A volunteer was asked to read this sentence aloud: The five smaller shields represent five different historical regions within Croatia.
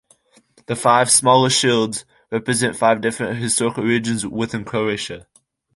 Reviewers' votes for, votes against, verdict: 3, 1, accepted